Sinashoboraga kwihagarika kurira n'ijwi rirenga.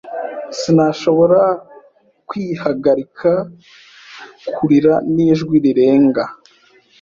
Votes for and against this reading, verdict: 0, 2, rejected